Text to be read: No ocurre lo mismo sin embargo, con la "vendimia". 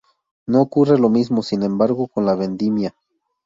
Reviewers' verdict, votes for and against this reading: accepted, 2, 0